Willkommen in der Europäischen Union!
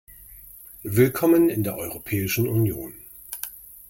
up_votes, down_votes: 2, 0